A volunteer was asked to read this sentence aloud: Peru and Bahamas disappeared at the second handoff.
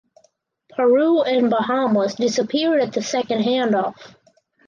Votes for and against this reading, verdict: 4, 0, accepted